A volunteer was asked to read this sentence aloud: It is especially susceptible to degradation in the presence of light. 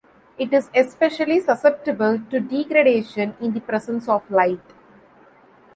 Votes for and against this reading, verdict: 2, 1, accepted